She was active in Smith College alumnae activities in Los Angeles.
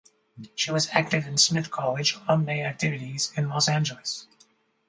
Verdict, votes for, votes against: accepted, 4, 0